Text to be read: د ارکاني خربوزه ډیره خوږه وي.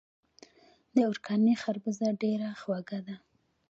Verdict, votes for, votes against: rejected, 1, 2